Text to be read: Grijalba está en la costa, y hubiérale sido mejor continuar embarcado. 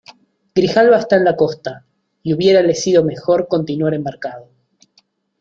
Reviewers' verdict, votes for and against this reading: accepted, 2, 0